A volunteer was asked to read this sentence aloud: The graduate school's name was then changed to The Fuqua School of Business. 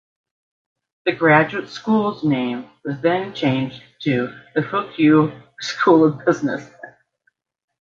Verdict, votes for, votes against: rejected, 1, 2